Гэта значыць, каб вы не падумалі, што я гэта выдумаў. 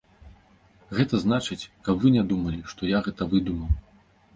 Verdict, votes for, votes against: rejected, 0, 2